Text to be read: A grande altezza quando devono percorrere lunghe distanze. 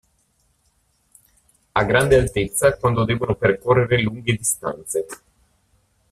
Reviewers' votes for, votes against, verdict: 0, 2, rejected